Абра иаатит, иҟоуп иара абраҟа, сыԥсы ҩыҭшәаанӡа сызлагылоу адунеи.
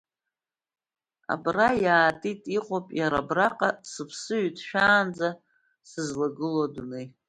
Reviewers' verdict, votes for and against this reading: accepted, 2, 0